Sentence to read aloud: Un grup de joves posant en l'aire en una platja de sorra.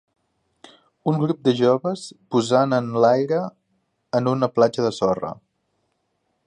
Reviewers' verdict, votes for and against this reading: accepted, 2, 0